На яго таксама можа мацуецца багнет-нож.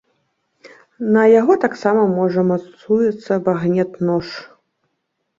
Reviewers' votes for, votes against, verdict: 2, 0, accepted